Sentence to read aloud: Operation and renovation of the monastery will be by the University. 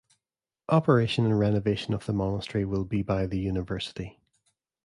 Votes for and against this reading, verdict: 2, 0, accepted